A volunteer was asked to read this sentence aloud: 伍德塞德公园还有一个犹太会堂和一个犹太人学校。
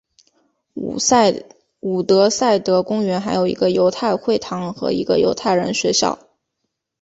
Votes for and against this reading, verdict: 2, 2, rejected